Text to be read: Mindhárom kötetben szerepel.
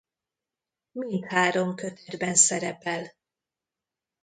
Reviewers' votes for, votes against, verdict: 0, 2, rejected